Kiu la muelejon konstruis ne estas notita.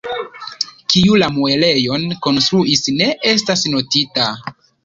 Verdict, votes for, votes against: rejected, 1, 2